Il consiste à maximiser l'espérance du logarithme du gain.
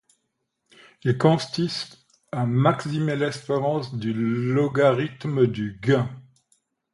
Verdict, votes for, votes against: rejected, 0, 2